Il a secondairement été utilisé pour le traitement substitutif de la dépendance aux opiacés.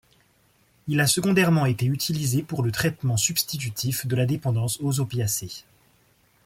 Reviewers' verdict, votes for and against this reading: accepted, 2, 0